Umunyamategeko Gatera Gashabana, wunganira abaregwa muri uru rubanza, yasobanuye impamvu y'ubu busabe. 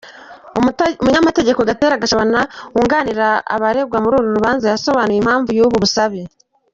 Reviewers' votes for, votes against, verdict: 0, 2, rejected